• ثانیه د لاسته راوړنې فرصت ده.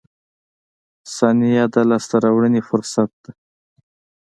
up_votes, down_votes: 2, 0